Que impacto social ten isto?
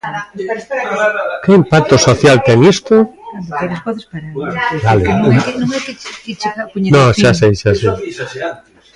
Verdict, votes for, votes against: rejected, 0, 2